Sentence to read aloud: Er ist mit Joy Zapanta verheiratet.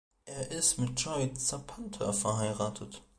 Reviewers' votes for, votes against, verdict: 2, 0, accepted